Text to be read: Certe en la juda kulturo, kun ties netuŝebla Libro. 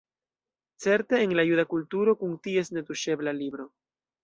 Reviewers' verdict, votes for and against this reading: rejected, 0, 2